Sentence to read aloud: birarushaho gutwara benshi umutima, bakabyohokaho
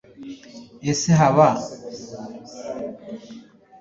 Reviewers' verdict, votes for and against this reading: rejected, 1, 2